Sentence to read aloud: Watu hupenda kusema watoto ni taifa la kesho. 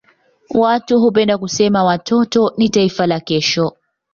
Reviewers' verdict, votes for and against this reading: accepted, 2, 1